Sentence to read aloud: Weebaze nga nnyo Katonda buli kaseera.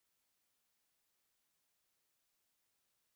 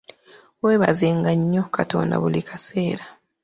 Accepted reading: second